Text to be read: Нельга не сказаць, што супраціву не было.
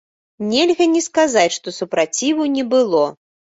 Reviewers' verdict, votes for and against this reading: accepted, 2, 0